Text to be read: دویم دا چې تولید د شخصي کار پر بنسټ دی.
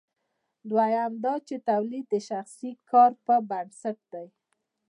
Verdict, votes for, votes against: rejected, 1, 2